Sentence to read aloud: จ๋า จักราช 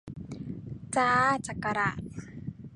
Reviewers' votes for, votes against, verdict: 1, 2, rejected